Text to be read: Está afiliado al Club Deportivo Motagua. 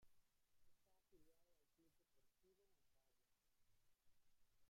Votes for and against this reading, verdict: 0, 2, rejected